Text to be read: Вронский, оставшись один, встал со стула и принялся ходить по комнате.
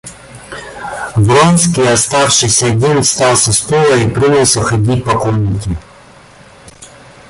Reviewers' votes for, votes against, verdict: 2, 0, accepted